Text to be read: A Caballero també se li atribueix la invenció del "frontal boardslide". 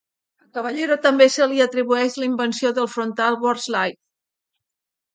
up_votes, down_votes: 1, 2